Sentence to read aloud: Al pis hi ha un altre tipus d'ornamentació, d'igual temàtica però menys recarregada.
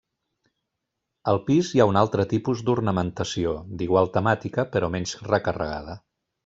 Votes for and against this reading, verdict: 2, 1, accepted